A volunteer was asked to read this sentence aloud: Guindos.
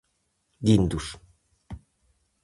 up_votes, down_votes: 4, 0